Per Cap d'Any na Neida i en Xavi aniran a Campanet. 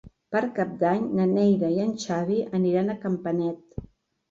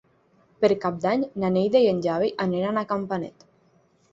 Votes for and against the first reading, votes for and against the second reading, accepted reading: 4, 0, 3, 6, first